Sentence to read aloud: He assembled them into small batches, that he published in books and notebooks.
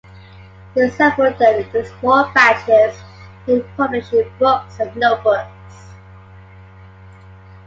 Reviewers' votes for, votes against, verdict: 0, 2, rejected